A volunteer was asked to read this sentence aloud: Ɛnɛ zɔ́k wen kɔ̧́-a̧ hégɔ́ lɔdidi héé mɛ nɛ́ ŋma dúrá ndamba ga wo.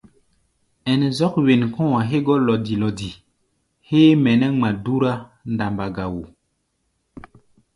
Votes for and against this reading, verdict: 1, 2, rejected